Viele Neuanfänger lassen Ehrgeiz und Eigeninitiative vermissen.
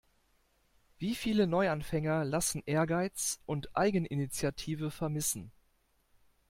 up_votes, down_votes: 0, 2